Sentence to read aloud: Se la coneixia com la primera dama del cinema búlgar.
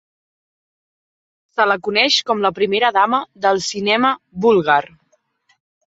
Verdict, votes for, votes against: rejected, 0, 2